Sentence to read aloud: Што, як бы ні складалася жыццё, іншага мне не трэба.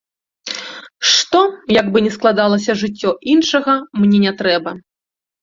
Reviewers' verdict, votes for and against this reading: accepted, 2, 0